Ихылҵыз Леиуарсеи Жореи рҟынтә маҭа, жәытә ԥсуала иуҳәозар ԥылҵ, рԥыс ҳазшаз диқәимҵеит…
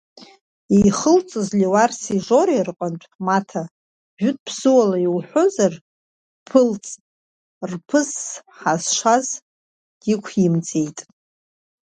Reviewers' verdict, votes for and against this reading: rejected, 0, 2